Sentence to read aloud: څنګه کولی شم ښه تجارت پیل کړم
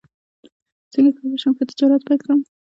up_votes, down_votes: 2, 1